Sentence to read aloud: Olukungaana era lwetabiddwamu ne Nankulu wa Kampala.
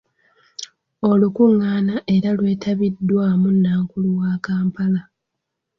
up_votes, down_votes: 2, 3